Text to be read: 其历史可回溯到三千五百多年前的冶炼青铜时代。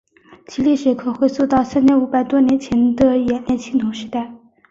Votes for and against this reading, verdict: 9, 0, accepted